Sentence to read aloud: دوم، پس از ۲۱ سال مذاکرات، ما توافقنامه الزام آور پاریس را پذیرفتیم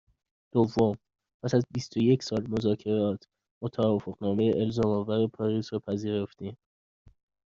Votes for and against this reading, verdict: 0, 2, rejected